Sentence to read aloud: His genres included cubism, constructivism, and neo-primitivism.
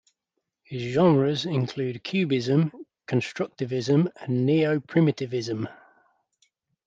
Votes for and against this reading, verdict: 0, 2, rejected